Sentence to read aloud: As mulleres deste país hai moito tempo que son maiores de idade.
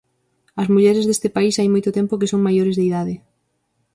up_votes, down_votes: 6, 0